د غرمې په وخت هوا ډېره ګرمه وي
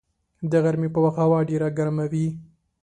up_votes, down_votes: 3, 0